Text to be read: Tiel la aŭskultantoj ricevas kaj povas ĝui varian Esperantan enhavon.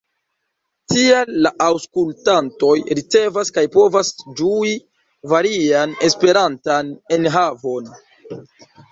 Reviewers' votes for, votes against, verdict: 2, 1, accepted